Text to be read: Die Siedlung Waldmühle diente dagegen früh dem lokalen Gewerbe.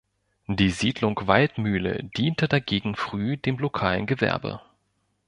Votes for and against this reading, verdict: 2, 0, accepted